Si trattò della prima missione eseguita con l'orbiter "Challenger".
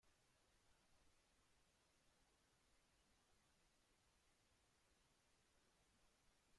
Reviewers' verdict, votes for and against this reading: rejected, 0, 2